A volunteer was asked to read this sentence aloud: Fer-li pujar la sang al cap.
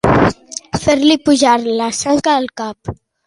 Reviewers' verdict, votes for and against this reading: rejected, 1, 2